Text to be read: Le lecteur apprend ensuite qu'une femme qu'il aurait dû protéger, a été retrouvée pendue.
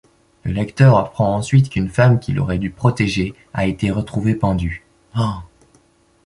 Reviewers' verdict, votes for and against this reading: rejected, 1, 2